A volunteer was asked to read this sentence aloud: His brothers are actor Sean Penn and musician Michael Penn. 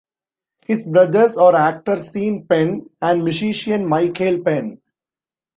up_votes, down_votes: 1, 2